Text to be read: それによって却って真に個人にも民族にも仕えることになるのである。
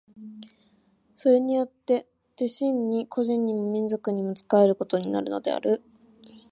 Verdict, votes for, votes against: rejected, 1, 2